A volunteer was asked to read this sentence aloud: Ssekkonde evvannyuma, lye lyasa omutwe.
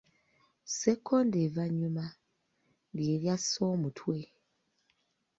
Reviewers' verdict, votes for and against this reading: rejected, 0, 2